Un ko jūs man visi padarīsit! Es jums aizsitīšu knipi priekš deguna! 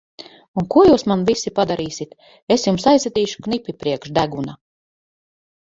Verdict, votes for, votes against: accepted, 4, 0